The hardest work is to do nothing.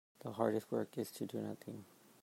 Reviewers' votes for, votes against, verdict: 2, 0, accepted